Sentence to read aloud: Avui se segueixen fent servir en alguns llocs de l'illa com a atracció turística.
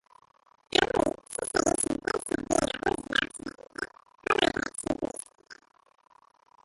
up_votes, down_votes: 0, 3